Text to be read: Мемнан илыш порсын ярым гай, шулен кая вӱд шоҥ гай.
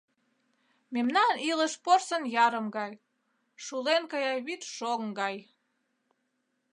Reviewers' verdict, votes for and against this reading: accepted, 2, 0